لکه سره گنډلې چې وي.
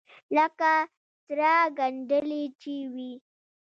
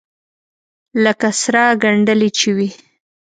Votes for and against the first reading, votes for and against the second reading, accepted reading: 1, 2, 2, 0, second